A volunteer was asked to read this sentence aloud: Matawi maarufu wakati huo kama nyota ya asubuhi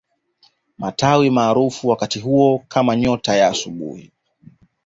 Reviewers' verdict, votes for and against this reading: accepted, 2, 0